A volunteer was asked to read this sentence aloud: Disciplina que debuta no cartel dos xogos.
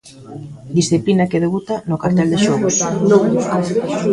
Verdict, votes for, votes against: rejected, 0, 2